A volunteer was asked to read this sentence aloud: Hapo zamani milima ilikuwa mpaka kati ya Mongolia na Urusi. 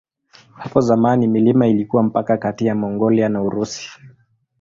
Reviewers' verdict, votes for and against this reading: accepted, 2, 0